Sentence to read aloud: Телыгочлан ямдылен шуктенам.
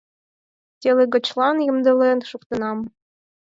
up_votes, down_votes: 4, 0